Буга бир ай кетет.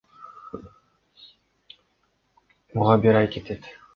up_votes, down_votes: 2, 0